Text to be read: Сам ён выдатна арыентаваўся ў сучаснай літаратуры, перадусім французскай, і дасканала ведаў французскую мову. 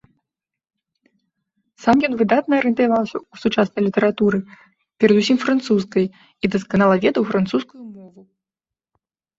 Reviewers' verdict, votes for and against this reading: rejected, 2, 3